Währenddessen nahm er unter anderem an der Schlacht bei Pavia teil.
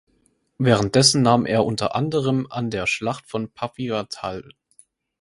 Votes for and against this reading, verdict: 2, 4, rejected